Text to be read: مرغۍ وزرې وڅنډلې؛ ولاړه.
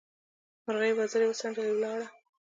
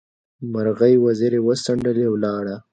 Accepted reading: second